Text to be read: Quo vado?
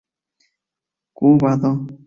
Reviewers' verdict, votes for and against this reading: rejected, 0, 2